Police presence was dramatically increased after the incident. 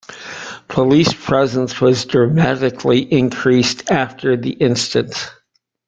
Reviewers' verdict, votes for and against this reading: rejected, 1, 2